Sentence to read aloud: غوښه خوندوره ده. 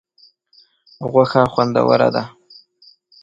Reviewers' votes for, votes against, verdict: 2, 1, accepted